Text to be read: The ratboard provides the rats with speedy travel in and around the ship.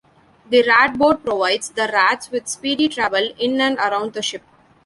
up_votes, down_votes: 2, 1